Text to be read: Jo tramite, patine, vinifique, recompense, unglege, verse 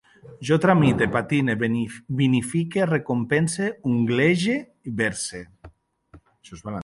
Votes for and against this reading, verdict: 0, 2, rejected